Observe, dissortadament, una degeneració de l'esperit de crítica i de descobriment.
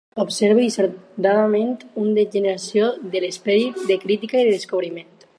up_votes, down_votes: 0, 4